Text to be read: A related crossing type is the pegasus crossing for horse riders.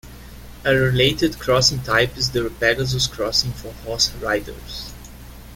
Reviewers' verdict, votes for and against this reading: rejected, 0, 2